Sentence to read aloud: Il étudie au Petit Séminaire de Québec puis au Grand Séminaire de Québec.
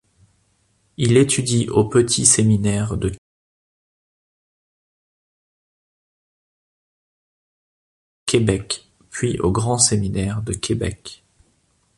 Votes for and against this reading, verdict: 0, 2, rejected